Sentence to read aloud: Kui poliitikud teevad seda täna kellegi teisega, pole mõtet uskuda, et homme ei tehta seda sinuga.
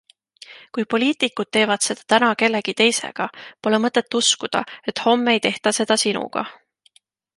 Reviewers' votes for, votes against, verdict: 2, 0, accepted